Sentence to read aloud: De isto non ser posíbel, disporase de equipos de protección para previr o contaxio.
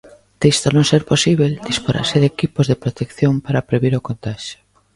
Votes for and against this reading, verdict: 1, 2, rejected